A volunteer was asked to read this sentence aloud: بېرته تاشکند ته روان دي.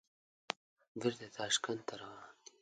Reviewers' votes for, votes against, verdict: 1, 2, rejected